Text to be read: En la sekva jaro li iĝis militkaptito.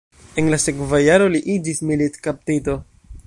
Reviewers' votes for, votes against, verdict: 1, 2, rejected